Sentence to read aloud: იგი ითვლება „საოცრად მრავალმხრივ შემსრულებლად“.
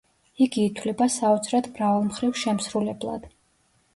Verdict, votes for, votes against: accepted, 2, 0